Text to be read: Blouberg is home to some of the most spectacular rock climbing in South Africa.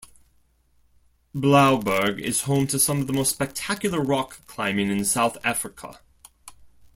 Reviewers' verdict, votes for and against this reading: accepted, 2, 0